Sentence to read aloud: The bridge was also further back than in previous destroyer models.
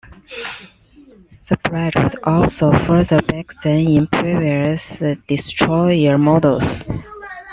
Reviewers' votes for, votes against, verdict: 0, 2, rejected